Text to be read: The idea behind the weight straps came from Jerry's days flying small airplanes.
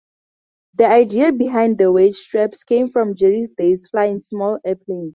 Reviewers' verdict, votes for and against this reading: accepted, 2, 0